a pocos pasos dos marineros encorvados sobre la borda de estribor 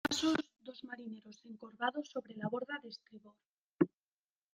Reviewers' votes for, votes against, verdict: 0, 2, rejected